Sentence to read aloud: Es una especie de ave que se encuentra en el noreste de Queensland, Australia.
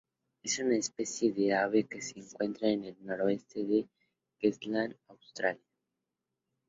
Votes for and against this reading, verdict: 2, 2, rejected